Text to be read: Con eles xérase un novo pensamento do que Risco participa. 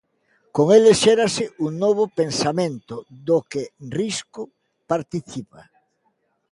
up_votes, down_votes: 2, 0